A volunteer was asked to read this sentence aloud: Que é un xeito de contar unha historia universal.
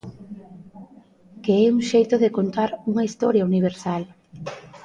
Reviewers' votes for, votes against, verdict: 2, 0, accepted